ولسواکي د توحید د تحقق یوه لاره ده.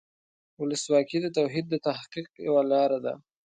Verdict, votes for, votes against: accepted, 2, 0